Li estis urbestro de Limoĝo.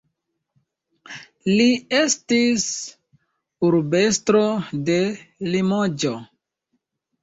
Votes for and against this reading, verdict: 2, 0, accepted